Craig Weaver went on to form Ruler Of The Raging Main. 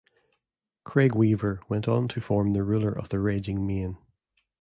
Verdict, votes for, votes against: rejected, 1, 2